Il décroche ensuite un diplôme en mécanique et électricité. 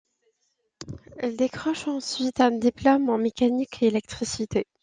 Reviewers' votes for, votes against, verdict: 2, 0, accepted